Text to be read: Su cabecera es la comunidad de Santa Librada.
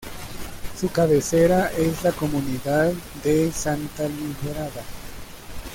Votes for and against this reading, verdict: 1, 2, rejected